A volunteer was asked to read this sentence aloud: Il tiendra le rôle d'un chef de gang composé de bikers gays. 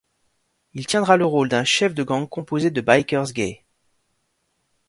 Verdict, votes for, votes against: accepted, 2, 0